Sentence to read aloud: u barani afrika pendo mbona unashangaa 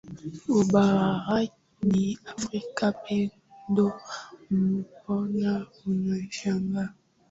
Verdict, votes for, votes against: rejected, 1, 2